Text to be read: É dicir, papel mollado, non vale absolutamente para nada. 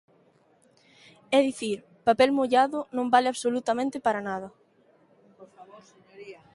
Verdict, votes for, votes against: rejected, 0, 2